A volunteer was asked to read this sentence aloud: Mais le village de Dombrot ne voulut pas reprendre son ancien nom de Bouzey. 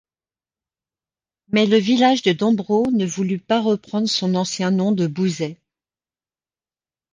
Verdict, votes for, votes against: accepted, 2, 0